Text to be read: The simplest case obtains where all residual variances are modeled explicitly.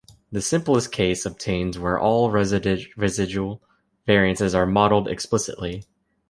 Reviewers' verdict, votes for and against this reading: rejected, 0, 2